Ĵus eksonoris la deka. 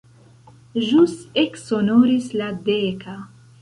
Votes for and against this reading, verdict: 2, 1, accepted